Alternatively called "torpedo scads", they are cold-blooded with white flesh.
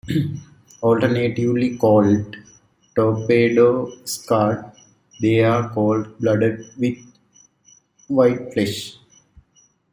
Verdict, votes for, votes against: rejected, 1, 2